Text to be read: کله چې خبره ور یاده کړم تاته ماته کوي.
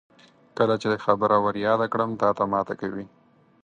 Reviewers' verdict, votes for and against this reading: accepted, 4, 2